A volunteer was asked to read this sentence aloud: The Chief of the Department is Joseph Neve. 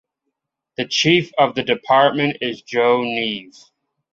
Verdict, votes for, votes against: rejected, 0, 2